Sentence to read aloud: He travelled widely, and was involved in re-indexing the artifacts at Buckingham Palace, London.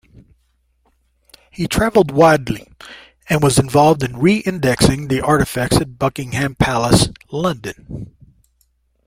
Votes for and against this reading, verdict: 2, 1, accepted